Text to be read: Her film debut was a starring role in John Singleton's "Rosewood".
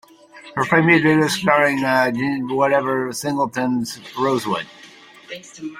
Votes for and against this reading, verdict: 0, 2, rejected